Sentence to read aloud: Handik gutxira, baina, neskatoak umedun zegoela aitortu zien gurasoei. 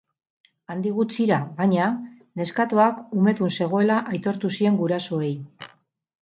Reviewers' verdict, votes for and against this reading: accepted, 2, 0